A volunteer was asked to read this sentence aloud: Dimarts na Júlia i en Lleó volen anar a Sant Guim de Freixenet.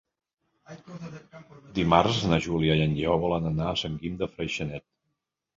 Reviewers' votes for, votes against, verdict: 0, 2, rejected